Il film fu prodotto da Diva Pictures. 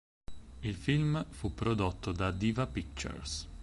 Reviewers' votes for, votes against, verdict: 4, 0, accepted